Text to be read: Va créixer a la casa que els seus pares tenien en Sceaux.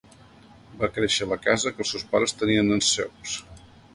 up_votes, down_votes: 2, 1